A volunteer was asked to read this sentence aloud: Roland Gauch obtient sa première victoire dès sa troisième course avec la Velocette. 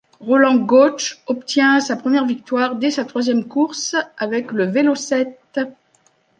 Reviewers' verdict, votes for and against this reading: rejected, 1, 2